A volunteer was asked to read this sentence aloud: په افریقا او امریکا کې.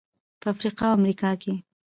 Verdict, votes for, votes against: accepted, 2, 0